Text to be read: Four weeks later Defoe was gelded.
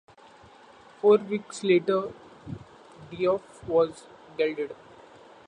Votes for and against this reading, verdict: 0, 2, rejected